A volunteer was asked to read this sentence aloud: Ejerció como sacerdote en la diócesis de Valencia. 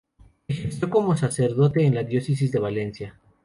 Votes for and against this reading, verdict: 2, 2, rejected